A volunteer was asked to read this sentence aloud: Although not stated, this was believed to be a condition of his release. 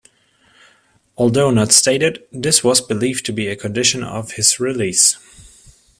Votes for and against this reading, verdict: 2, 0, accepted